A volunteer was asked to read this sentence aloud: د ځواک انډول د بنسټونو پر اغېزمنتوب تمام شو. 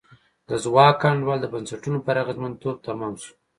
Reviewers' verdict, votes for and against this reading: accepted, 2, 0